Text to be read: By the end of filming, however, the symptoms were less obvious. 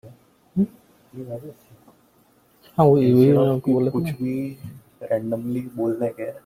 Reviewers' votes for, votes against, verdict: 0, 2, rejected